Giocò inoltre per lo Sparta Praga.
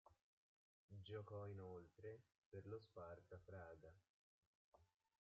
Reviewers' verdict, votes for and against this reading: rejected, 0, 2